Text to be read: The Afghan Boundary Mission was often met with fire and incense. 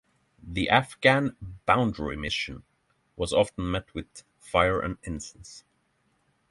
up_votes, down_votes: 6, 0